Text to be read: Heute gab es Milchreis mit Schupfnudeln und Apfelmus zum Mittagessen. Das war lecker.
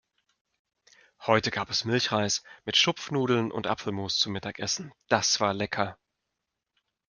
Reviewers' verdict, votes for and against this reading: accepted, 2, 0